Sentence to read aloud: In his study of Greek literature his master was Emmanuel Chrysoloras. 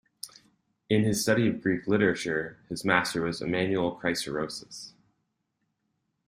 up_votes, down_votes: 0, 2